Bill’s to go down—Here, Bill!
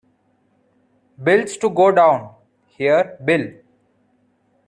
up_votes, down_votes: 2, 1